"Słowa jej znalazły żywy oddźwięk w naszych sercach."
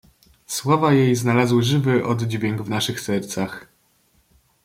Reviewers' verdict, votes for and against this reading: accepted, 2, 0